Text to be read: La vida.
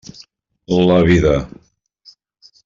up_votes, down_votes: 3, 0